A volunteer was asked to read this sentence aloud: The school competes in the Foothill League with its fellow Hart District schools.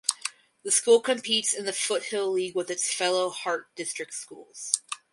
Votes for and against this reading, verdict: 2, 4, rejected